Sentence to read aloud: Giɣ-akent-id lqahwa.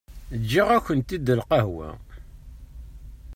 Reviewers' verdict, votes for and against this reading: accepted, 3, 0